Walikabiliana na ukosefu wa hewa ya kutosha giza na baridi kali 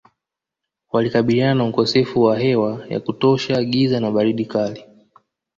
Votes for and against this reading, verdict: 1, 2, rejected